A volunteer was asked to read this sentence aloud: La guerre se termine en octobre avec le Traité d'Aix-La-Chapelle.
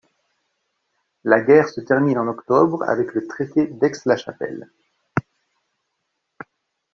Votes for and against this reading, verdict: 2, 0, accepted